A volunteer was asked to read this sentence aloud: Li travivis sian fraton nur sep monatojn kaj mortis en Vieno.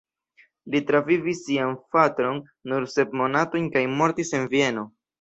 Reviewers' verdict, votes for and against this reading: accepted, 2, 0